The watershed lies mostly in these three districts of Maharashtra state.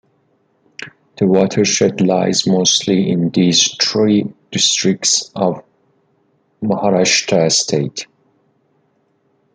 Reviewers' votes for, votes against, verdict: 2, 0, accepted